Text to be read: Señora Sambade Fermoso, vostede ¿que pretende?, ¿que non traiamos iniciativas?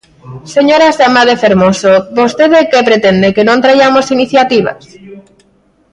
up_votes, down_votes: 3, 1